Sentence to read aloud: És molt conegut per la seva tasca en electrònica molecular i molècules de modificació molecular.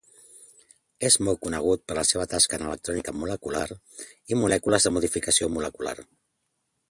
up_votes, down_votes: 3, 0